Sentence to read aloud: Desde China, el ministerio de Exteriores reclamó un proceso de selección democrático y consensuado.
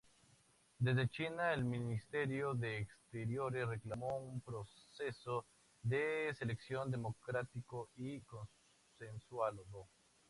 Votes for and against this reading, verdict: 4, 0, accepted